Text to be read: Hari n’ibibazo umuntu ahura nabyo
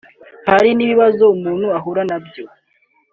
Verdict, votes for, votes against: accepted, 3, 0